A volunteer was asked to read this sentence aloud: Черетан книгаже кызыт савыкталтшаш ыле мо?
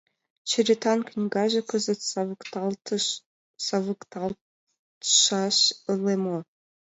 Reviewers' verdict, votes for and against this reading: rejected, 1, 2